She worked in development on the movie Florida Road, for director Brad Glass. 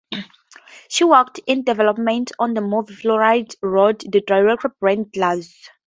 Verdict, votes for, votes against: rejected, 0, 2